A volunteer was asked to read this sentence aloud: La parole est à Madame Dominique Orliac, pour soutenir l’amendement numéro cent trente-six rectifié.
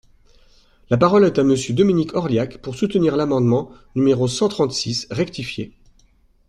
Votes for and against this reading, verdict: 0, 2, rejected